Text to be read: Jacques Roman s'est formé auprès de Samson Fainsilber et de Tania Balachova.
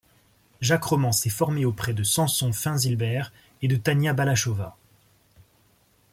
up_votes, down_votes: 2, 0